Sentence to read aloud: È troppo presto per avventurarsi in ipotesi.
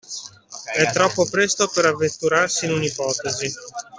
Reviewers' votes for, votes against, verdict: 1, 2, rejected